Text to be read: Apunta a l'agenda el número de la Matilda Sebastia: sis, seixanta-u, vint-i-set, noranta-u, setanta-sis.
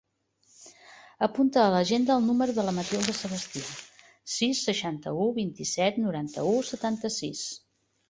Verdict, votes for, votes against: accepted, 2, 0